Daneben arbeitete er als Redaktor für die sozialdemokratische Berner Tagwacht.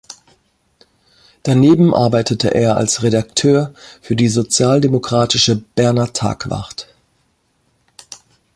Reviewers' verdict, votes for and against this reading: rejected, 0, 2